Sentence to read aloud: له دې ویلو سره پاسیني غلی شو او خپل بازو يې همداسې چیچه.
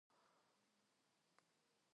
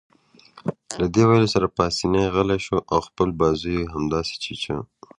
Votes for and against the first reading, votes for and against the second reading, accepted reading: 1, 2, 2, 1, second